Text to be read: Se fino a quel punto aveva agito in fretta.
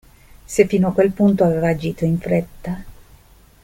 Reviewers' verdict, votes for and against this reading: accepted, 2, 0